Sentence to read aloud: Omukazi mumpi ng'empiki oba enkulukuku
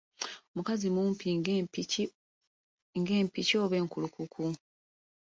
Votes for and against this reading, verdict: 2, 1, accepted